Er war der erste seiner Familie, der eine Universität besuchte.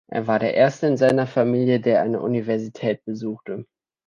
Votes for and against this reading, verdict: 2, 0, accepted